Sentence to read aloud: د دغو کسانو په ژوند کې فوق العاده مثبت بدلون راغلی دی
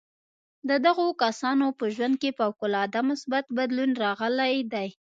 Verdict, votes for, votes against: accepted, 2, 1